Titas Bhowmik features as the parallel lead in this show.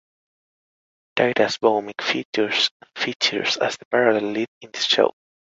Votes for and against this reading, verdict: 0, 2, rejected